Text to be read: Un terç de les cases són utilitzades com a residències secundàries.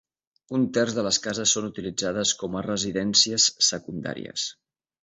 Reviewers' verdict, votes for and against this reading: accepted, 2, 0